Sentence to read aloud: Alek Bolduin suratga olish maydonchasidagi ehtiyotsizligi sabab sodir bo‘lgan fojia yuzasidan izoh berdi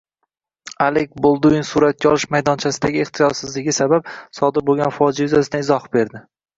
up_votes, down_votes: 1, 2